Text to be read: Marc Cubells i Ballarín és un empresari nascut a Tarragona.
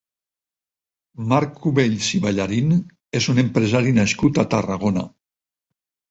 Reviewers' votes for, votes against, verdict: 4, 0, accepted